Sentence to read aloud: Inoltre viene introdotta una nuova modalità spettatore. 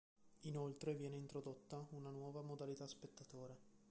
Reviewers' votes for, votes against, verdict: 1, 2, rejected